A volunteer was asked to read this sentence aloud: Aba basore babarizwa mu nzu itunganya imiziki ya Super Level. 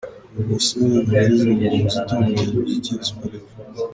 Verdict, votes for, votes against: rejected, 2, 3